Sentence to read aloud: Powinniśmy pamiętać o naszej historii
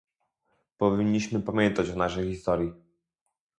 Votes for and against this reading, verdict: 0, 2, rejected